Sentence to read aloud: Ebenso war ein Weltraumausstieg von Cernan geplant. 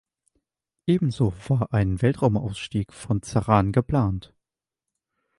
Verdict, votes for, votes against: rejected, 1, 2